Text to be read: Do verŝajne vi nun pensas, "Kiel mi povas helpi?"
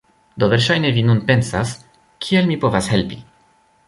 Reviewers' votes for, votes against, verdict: 0, 2, rejected